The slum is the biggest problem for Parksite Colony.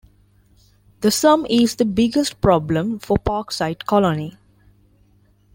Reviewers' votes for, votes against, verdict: 0, 2, rejected